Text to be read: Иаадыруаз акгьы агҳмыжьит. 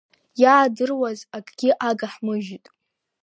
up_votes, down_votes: 2, 1